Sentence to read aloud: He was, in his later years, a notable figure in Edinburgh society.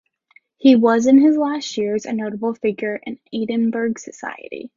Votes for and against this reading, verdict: 0, 2, rejected